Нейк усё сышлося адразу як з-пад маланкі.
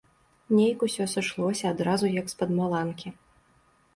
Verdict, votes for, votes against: accepted, 2, 0